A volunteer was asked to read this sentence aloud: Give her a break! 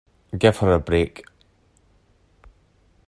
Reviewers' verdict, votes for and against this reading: accepted, 2, 0